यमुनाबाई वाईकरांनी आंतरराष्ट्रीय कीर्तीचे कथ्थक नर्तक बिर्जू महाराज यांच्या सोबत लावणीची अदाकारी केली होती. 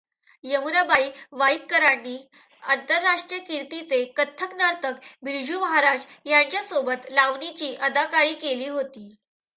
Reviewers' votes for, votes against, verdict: 2, 0, accepted